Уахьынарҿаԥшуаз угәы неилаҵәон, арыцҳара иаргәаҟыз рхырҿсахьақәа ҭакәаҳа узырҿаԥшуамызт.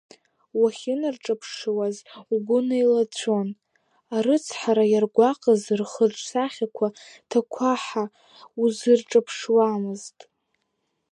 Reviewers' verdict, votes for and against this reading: accepted, 2, 1